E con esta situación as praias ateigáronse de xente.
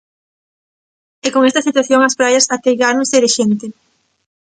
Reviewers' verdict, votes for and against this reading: rejected, 1, 2